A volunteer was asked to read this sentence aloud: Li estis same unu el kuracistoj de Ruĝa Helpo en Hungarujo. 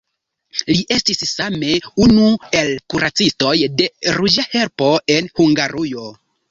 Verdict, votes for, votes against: rejected, 1, 2